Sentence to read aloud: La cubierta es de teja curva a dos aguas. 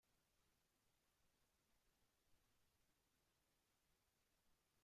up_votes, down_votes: 0, 2